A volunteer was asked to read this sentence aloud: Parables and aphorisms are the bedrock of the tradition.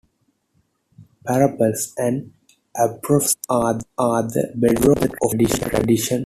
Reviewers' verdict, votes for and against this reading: rejected, 2, 3